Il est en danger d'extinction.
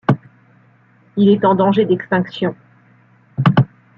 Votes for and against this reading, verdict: 2, 0, accepted